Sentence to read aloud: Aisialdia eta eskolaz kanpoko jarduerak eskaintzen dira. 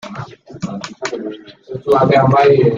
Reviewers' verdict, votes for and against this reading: rejected, 0, 2